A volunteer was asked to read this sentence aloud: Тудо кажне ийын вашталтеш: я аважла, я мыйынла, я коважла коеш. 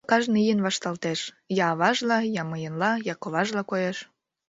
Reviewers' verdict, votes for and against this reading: rejected, 1, 2